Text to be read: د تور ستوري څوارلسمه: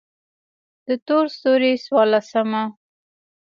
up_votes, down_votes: 2, 0